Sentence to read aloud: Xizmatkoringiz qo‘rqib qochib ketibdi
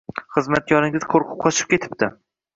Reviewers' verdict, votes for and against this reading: accepted, 2, 0